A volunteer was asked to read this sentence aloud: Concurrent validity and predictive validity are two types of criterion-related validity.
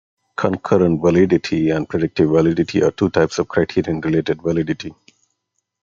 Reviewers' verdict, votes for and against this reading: accepted, 2, 0